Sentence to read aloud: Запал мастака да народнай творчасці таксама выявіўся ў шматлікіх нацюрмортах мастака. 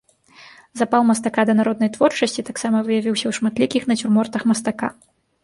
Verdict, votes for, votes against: accepted, 2, 0